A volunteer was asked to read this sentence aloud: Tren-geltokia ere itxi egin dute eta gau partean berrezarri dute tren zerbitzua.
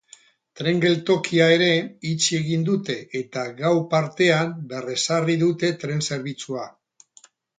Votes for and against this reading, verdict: 4, 0, accepted